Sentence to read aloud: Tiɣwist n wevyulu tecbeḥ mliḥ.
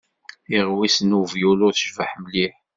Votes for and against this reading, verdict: 2, 0, accepted